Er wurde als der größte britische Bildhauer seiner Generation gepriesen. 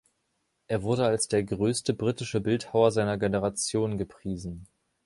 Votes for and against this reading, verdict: 2, 0, accepted